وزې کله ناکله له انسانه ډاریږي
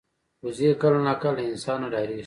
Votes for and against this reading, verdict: 1, 2, rejected